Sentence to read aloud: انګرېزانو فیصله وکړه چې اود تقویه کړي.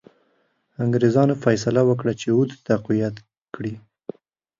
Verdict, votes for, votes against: rejected, 0, 2